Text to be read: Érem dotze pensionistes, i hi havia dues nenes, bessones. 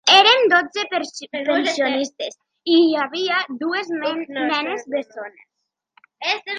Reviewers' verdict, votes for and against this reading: rejected, 0, 2